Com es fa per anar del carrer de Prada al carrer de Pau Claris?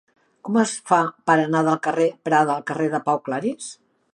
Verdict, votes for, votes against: rejected, 0, 2